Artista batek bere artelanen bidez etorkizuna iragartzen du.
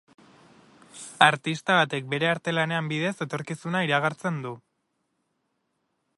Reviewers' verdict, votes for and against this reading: rejected, 0, 2